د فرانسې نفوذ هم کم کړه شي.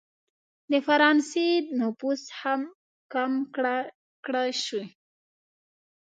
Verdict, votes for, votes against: rejected, 1, 2